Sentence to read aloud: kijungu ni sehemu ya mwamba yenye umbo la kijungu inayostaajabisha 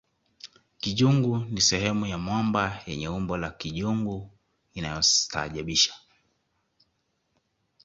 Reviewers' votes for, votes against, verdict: 2, 0, accepted